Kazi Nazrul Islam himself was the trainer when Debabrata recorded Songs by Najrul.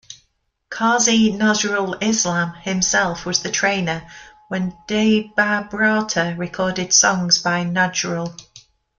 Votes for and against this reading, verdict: 0, 3, rejected